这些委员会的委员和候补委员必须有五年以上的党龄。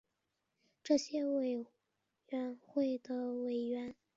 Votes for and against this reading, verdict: 0, 3, rejected